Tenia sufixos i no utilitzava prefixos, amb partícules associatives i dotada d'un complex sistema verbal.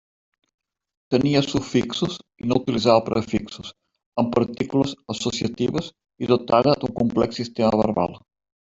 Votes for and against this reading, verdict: 2, 0, accepted